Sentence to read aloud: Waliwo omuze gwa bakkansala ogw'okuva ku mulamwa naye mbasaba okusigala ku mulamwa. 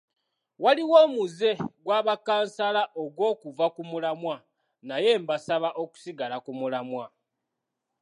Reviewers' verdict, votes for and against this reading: accepted, 2, 0